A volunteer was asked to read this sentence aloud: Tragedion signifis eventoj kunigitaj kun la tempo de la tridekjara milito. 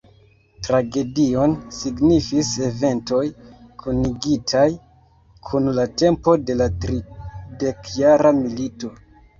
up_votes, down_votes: 2, 0